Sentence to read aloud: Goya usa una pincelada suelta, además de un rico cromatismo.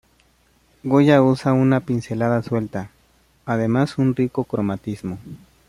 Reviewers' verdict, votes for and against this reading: rejected, 1, 2